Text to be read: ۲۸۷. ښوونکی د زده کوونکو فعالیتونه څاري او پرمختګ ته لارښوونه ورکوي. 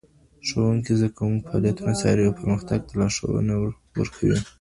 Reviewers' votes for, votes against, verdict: 0, 2, rejected